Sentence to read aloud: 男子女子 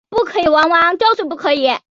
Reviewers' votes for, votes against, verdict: 0, 3, rejected